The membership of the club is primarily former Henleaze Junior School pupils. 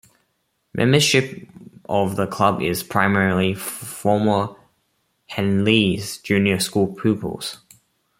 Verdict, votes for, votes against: rejected, 1, 2